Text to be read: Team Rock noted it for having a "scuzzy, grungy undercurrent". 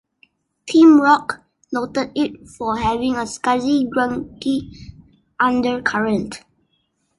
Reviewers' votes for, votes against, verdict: 2, 1, accepted